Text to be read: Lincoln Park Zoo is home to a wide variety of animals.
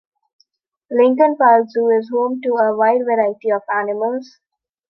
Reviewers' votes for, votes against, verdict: 2, 0, accepted